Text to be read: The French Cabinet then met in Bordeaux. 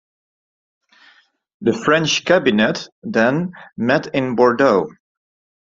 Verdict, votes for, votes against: rejected, 0, 2